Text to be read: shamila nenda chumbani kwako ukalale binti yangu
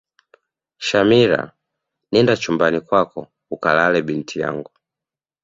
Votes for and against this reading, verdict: 2, 0, accepted